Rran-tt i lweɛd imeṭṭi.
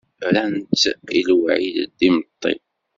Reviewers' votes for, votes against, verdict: 2, 0, accepted